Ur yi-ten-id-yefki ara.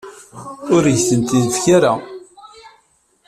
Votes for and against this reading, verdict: 0, 2, rejected